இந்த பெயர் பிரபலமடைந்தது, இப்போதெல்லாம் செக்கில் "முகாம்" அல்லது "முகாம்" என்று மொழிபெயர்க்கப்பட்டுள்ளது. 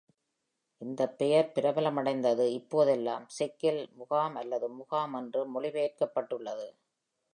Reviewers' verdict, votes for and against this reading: accepted, 2, 0